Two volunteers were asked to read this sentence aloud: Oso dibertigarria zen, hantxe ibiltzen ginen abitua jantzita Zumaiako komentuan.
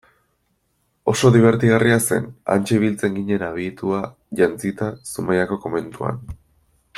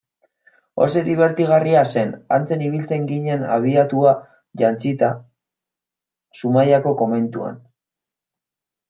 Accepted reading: first